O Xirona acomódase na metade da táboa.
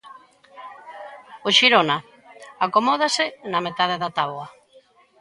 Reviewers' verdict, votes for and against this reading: accepted, 2, 0